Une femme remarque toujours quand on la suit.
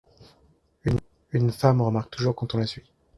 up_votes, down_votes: 1, 2